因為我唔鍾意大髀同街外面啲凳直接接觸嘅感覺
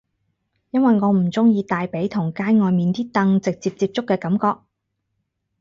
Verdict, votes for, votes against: accepted, 4, 0